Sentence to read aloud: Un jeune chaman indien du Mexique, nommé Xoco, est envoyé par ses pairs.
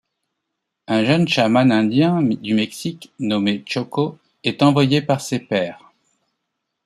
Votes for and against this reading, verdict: 1, 2, rejected